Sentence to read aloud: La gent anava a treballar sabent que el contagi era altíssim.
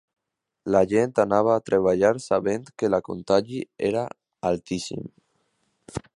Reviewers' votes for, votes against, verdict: 0, 2, rejected